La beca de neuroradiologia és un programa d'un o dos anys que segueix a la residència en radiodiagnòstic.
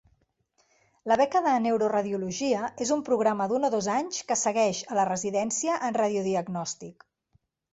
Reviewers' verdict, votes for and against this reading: accepted, 2, 0